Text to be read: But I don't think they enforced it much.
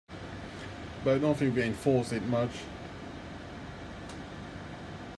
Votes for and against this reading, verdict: 0, 2, rejected